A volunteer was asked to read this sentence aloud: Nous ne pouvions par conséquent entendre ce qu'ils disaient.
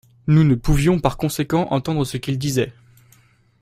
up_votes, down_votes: 3, 0